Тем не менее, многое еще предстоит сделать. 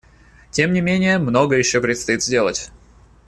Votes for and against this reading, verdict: 2, 0, accepted